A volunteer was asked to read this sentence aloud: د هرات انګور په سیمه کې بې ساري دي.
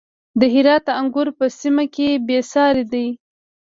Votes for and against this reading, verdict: 2, 0, accepted